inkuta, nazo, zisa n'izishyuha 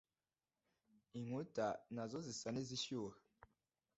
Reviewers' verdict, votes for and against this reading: accepted, 2, 1